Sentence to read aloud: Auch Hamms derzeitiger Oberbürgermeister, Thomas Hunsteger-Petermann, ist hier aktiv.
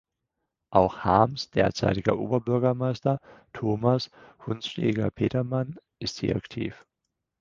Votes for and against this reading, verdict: 0, 4, rejected